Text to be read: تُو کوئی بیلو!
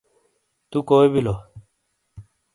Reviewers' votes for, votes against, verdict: 2, 0, accepted